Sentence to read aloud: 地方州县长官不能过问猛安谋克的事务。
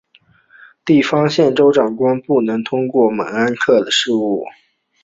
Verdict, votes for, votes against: accepted, 3, 0